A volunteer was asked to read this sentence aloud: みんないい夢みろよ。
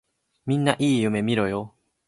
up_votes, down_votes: 2, 0